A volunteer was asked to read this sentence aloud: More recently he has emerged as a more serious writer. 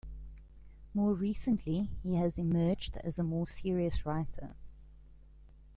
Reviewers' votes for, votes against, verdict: 2, 0, accepted